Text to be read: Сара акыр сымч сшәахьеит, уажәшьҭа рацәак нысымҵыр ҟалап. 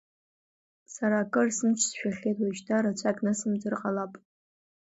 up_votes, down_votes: 2, 0